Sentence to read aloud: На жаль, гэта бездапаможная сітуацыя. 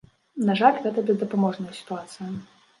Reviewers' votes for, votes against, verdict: 2, 0, accepted